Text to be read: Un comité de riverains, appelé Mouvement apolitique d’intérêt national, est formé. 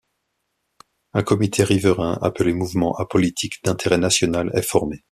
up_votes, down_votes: 0, 2